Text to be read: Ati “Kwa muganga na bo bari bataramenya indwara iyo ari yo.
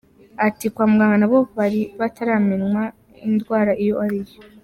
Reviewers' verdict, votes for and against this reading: rejected, 0, 3